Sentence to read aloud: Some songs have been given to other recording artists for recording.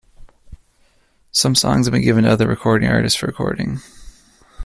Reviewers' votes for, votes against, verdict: 0, 2, rejected